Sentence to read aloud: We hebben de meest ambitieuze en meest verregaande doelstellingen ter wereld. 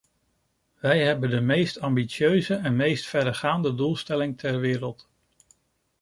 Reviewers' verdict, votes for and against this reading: rejected, 0, 2